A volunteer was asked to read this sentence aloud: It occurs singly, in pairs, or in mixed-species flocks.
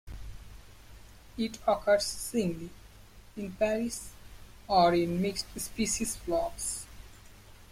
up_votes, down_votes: 0, 2